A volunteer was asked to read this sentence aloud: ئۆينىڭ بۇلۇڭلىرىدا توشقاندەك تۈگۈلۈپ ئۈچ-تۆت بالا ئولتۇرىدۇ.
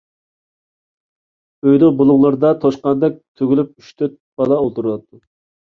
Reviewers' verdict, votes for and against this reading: rejected, 1, 2